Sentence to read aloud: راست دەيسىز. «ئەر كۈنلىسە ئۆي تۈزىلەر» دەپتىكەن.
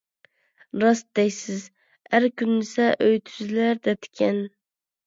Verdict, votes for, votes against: accepted, 2, 0